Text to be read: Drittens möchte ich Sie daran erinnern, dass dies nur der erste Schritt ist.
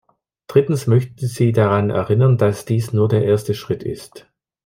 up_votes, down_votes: 0, 2